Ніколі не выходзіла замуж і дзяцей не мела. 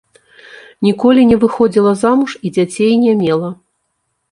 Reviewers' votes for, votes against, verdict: 2, 0, accepted